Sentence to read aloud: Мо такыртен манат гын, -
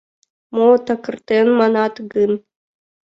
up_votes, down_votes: 0, 2